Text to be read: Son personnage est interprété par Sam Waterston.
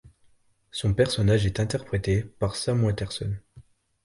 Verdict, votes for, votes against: rejected, 1, 2